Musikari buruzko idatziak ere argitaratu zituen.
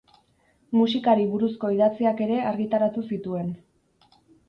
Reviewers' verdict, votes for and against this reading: accepted, 10, 0